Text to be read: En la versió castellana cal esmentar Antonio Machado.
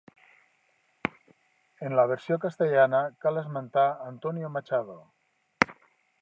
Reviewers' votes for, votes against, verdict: 3, 0, accepted